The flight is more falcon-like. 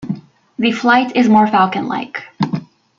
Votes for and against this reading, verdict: 2, 0, accepted